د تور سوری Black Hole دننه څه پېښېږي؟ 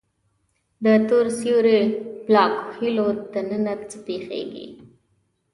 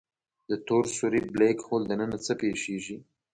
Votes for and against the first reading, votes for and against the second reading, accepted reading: 0, 2, 2, 0, second